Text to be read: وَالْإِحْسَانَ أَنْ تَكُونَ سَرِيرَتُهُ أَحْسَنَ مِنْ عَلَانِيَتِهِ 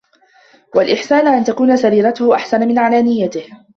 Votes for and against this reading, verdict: 2, 0, accepted